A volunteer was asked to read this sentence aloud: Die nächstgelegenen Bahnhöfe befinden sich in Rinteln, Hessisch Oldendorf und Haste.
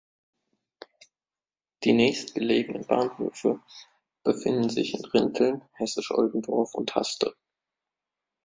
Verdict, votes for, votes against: rejected, 1, 2